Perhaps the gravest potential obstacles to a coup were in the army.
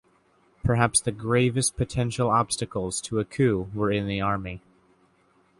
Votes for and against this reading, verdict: 2, 0, accepted